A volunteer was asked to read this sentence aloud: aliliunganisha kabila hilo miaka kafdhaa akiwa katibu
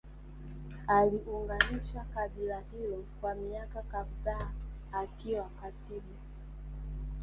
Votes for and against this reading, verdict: 1, 3, rejected